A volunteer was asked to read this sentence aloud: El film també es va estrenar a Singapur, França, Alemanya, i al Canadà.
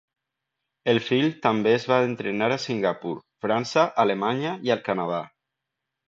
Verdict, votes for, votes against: rejected, 1, 2